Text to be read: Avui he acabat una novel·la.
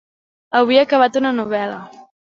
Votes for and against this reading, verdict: 2, 0, accepted